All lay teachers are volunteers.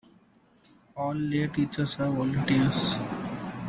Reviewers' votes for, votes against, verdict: 2, 0, accepted